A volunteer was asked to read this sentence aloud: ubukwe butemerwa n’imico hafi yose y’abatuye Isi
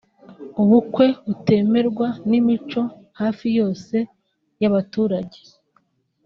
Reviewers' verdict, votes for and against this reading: rejected, 0, 2